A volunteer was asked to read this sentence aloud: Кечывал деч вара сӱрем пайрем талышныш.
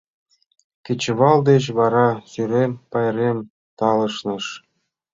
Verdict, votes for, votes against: accepted, 2, 0